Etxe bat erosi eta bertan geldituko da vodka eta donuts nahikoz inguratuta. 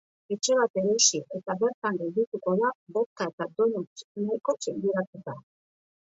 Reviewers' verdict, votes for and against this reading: rejected, 1, 2